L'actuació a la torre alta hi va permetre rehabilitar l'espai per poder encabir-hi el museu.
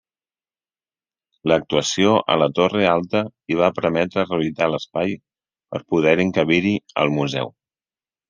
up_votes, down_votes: 1, 2